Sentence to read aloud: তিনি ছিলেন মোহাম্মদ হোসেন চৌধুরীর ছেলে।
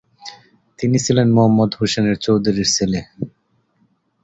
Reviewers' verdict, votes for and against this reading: rejected, 0, 2